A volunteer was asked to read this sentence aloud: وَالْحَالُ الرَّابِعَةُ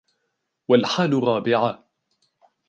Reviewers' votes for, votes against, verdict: 1, 2, rejected